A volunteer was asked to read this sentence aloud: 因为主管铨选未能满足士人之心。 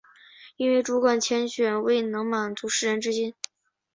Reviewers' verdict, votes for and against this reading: accepted, 3, 0